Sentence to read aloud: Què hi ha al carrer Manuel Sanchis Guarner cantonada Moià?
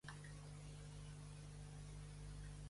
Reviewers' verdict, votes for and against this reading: rejected, 1, 2